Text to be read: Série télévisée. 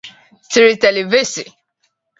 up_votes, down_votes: 2, 0